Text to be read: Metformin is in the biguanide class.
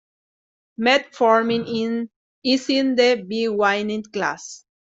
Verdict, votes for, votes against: rejected, 0, 2